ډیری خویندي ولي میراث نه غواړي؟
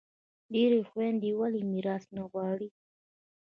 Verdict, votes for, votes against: accepted, 2, 1